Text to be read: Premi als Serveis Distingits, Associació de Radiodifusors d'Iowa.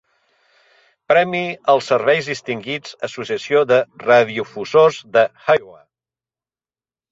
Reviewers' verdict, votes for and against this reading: rejected, 0, 2